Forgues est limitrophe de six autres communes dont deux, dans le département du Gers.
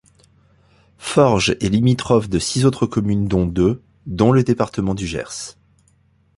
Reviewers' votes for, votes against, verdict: 1, 2, rejected